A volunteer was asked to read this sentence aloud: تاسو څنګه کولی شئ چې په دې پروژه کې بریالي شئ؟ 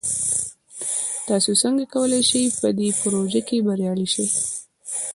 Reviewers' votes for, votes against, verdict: 0, 2, rejected